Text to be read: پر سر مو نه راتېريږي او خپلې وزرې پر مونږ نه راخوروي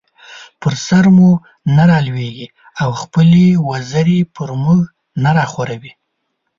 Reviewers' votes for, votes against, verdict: 1, 3, rejected